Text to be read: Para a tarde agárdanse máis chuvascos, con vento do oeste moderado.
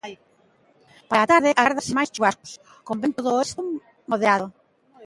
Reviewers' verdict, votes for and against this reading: rejected, 0, 2